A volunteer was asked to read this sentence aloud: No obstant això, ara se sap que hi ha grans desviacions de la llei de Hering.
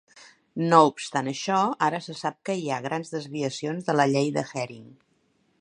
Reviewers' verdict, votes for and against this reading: accepted, 2, 0